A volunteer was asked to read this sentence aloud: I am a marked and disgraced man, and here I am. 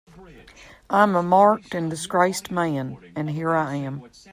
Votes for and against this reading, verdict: 0, 2, rejected